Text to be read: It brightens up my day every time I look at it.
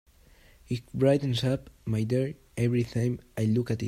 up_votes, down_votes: 2, 0